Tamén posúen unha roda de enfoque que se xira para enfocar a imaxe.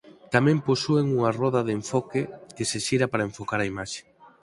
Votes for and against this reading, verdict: 4, 0, accepted